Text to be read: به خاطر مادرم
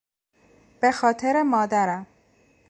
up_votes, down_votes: 2, 0